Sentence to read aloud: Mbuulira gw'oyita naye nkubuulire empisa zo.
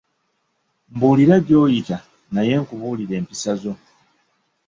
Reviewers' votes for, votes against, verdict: 1, 2, rejected